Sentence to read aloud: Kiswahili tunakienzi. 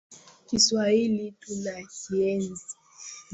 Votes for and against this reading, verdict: 2, 0, accepted